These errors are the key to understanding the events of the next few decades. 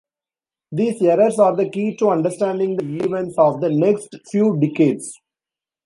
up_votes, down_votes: 1, 2